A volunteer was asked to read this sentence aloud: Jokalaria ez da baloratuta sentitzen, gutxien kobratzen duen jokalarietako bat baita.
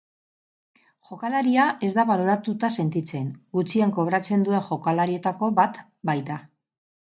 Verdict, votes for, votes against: rejected, 0, 4